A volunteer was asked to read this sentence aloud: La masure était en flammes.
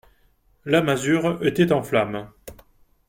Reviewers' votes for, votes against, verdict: 2, 0, accepted